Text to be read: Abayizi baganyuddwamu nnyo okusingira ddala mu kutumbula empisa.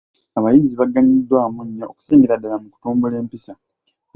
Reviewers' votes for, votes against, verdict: 2, 0, accepted